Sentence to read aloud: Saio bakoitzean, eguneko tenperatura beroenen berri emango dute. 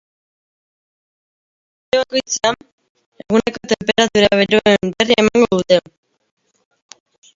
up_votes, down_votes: 1, 2